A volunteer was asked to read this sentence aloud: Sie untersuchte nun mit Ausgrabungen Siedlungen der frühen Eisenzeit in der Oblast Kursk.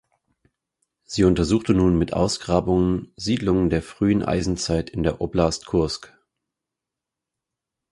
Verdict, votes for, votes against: accepted, 4, 0